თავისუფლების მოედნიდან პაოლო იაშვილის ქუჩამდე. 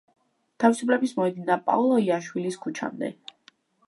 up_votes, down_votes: 2, 1